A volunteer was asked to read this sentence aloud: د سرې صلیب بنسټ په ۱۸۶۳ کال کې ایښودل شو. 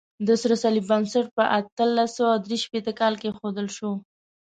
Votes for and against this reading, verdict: 0, 2, rejected